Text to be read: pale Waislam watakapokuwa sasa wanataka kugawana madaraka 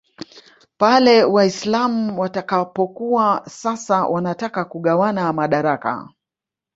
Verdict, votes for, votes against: rejected, 1, 2